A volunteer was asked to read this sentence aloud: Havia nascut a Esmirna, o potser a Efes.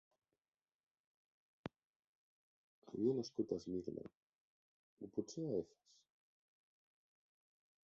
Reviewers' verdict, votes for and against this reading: rejected, 0, 2